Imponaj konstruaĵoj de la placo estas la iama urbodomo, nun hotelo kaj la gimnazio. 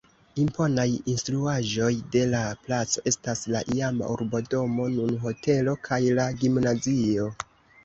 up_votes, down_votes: 0, 2